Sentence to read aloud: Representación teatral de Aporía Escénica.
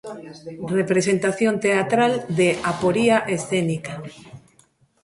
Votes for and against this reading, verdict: 0, 2, rejected